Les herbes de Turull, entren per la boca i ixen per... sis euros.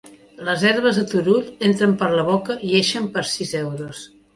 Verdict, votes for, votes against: accepted, 2, 0